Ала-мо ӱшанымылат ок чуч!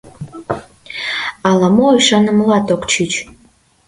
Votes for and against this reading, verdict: 2, 0, accepted